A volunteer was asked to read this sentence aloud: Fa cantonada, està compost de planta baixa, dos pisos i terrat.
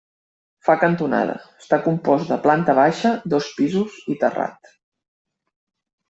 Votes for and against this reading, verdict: 1, 2, rejected